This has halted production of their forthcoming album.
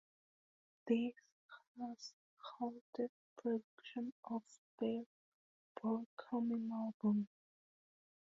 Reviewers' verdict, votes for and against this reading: rejected, 0, 2